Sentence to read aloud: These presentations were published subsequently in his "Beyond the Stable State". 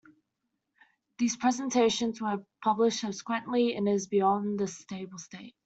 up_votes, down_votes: 1, 2